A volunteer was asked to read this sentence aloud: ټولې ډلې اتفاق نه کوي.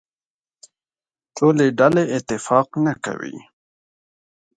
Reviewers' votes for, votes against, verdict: 2, 0, accepted